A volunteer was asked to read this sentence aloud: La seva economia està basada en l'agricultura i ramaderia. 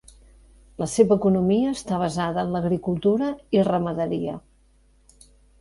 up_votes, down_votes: 4, 0